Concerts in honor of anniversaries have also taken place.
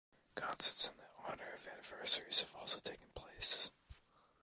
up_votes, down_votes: 0, 2